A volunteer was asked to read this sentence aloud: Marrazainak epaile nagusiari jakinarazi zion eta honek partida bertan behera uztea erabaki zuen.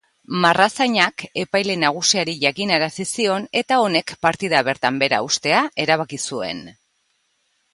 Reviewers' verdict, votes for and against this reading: accepted, 2, 0